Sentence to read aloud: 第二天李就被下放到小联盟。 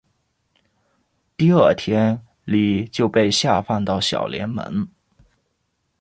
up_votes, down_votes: 2, 0